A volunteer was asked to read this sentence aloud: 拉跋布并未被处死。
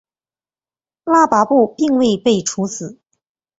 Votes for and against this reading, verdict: 4, 0, accepted